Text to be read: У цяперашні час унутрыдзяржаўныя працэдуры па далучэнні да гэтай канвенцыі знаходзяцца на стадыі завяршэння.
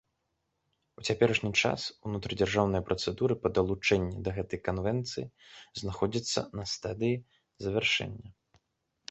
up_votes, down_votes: 0, 2